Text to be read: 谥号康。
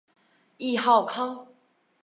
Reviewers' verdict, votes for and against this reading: rejected, 0, 2